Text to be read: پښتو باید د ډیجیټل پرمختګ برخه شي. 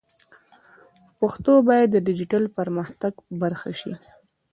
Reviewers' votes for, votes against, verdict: 1, 2, rejected